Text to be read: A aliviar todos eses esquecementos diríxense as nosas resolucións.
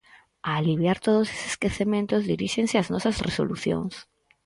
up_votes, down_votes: 4, 0